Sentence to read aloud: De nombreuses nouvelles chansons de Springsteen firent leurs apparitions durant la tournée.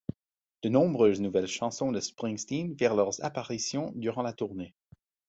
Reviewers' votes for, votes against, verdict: 1, 2, rejected